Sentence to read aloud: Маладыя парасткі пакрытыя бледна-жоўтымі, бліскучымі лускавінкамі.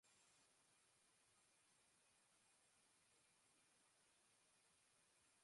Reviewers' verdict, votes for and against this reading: rejected, 0, 2